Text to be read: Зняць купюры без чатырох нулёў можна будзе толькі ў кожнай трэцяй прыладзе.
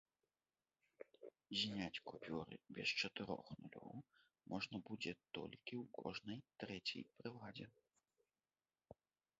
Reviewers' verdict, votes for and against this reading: rejected, 1, 2